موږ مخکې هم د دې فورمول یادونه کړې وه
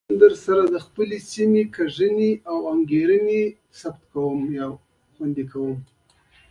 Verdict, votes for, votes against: accepted, 2, 0